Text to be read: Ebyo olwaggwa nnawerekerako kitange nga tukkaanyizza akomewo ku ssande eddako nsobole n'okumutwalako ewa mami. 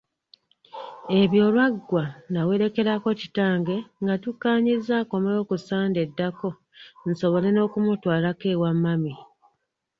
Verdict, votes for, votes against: accepted, 2, 1